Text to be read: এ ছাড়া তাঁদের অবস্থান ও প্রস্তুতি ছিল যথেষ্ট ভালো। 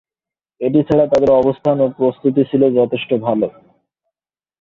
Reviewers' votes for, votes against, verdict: 0, 2, rejected